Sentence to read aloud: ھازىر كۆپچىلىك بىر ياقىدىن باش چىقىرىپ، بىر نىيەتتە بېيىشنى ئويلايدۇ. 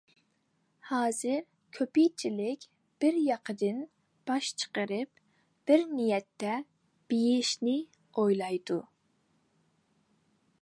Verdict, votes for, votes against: rejected, 0, 2